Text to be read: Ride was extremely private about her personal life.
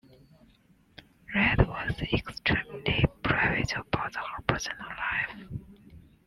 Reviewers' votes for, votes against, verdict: 2, 0, accepted